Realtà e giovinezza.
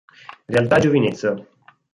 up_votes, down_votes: 2, 4